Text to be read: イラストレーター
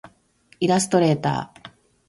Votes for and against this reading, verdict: 2, 0, accepted